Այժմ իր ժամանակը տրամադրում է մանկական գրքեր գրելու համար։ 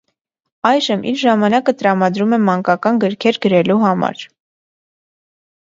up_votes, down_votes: 2, 0